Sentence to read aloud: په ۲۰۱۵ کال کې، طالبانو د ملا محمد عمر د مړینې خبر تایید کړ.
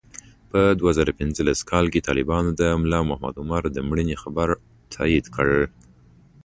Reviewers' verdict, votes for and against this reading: rejected, 0, 2